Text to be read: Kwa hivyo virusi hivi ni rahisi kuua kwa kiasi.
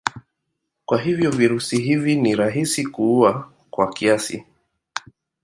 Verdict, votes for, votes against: accepted, 2, 0